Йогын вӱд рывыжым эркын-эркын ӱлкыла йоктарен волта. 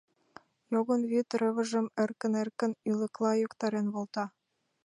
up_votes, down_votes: 2, 3